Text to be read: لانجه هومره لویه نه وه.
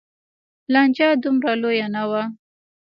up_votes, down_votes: 2, 0